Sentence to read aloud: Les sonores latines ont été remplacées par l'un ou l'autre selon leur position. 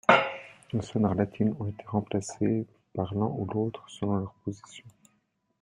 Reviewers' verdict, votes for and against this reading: rejected, 0, 2